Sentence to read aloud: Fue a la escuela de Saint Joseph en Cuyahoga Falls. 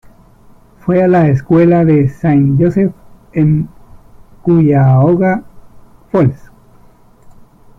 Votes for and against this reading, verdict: 1, 2, rejected